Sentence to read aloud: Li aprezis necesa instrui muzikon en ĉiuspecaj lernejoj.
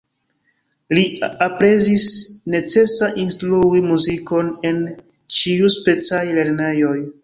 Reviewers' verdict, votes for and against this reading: rejected, 1, 2